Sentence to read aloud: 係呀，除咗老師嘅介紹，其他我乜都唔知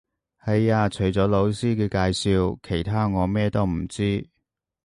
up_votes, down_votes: 1, 2